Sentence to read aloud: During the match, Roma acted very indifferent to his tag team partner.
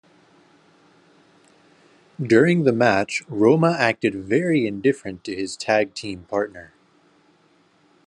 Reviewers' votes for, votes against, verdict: 2, 0, accepted